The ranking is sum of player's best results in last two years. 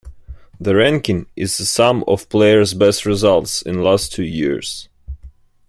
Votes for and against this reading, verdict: 1, 2, rejected